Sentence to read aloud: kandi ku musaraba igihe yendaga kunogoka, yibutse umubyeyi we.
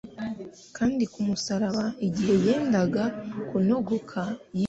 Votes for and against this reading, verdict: 0, 3, rejected